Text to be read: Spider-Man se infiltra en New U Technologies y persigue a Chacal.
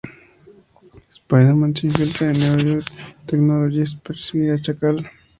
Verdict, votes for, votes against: rejected, 0, 4